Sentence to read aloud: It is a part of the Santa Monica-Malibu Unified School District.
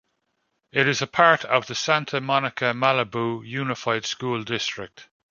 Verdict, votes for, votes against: accepted, 2, 0